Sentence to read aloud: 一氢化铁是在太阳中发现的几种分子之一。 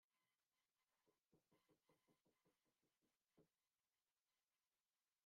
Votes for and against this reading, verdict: 0, 2, rejected